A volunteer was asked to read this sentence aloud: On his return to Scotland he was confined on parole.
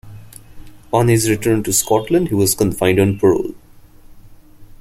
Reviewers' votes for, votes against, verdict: 2, 0, accepted